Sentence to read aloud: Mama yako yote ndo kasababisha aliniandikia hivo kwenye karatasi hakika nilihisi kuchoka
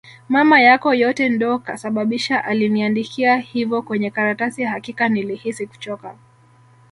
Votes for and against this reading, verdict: 1, 2, rejected